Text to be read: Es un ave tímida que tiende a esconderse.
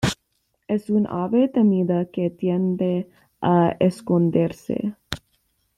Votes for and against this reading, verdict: 1, 2, rejected